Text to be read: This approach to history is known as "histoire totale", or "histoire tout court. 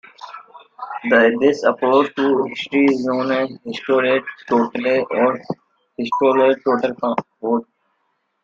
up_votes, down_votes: 0, 2